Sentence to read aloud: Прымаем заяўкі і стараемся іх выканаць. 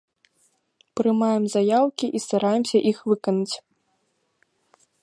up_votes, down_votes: 2, 0